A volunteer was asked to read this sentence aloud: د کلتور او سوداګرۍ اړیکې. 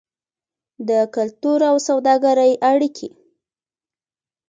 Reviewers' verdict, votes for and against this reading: rejected, 0, 2